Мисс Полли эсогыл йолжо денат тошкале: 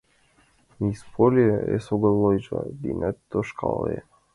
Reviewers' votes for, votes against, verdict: 1, 2, rejected